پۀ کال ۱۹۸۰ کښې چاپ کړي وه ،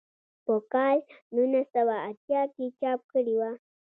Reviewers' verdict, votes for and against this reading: rejected, 0, 2